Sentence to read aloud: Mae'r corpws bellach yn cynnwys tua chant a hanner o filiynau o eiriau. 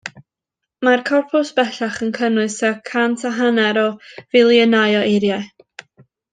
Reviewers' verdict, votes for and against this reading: rejected, 0, 2